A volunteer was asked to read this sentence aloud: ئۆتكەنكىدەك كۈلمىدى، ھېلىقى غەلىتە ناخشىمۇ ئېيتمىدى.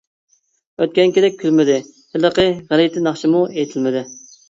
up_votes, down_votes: 0, 2